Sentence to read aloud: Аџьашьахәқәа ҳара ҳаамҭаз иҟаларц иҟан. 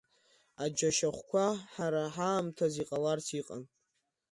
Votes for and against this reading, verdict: 2, 0, accepted